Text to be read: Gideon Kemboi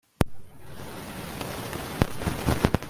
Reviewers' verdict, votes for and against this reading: rejected, 0, 2